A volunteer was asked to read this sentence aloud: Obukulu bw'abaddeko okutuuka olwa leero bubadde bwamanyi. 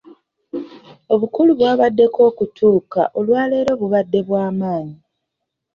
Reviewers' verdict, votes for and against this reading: accepted, 2, 0